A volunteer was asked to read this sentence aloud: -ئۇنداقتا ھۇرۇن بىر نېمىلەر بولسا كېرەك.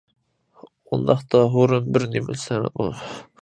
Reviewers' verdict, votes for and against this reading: rejected, 0, 2